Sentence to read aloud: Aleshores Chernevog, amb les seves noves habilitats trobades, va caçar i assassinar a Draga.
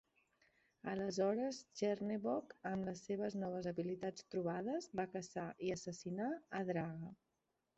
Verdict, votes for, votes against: accepted, 2, 0